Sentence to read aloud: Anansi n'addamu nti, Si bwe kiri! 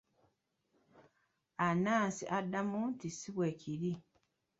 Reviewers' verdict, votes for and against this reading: rejected, 0, 2